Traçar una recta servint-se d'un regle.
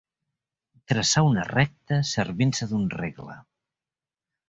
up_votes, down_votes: 3, 0